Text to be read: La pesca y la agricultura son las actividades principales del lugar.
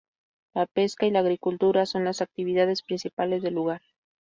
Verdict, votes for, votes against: accepted, 2, 0